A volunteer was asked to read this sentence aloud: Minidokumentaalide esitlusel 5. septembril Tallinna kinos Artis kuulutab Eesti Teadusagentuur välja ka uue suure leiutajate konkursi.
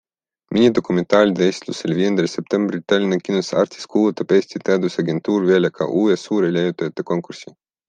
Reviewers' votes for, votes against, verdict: 0, 2, rejected